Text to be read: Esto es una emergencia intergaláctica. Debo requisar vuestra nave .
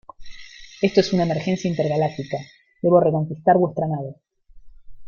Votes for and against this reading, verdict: 1, 2, rejected